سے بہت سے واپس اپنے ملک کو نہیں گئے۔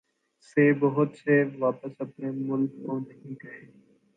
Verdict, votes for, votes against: accepted, 3, 1